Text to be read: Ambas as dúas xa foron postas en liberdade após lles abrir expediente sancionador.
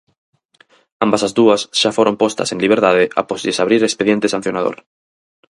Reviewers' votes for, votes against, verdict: 4, 0, accepted